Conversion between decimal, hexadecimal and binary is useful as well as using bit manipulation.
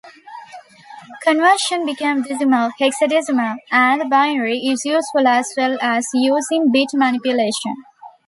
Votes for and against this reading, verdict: 0, 2, rejected